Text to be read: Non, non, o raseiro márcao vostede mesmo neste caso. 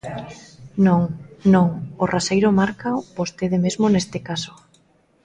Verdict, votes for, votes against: accepted, 2, 0